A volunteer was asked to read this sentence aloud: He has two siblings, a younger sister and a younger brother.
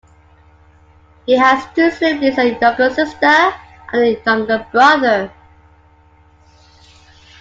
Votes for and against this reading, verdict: 0, 2, rejected